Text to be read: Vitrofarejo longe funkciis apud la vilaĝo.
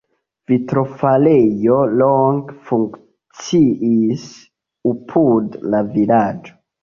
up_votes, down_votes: 0, 2